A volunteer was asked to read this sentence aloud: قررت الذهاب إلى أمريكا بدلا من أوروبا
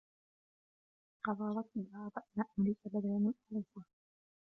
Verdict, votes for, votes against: rejected, 0, 2